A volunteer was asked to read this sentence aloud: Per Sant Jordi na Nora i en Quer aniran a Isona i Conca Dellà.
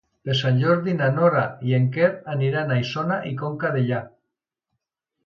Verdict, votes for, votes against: accepted, 2, 0